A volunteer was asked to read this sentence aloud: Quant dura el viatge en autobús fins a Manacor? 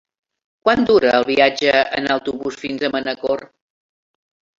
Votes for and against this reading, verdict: 3, 0, accepted